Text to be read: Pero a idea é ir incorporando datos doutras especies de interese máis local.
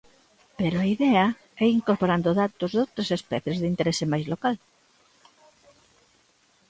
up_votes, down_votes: 0, 2